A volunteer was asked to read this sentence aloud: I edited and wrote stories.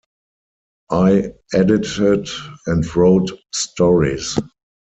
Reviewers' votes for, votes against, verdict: 6, 0, accepted